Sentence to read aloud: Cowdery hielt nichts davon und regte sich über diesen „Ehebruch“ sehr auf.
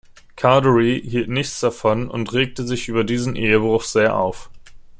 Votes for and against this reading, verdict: 2, 0, accepted